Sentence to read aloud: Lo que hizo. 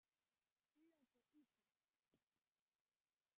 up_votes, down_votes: 0, 2